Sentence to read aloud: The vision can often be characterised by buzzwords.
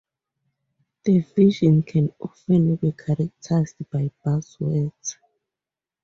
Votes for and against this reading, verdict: 2, 2, rejected